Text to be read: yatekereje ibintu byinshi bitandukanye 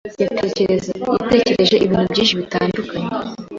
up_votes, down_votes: 1, 2